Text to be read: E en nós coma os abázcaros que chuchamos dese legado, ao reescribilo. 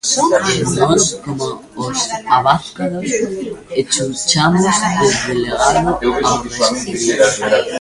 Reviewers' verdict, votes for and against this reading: rejected, 0, 2